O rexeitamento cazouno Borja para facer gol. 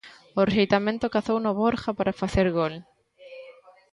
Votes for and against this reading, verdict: 1, 2, rejected